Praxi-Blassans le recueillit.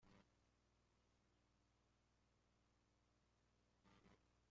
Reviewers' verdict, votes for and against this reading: rejected, 0, 2